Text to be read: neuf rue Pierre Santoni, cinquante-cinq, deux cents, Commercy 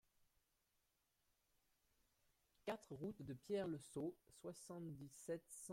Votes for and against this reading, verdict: 0, 2, rejected